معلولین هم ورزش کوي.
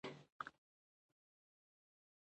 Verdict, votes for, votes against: rejected, 1, 2